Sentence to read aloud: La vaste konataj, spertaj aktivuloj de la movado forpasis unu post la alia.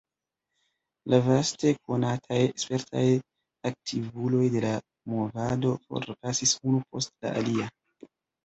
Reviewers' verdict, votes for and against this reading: rejected, 1, 2